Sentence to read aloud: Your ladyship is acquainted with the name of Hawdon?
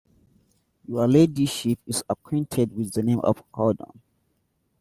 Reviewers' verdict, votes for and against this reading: accepted, 2, 0